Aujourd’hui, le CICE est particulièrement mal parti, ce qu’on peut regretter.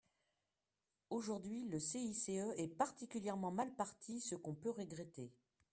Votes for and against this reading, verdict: 0, 2, rejected